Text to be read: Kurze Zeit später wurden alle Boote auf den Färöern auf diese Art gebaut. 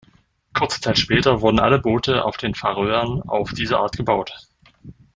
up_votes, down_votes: 0, 2